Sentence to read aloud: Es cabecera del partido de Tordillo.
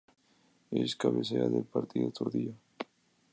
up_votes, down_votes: 2, 0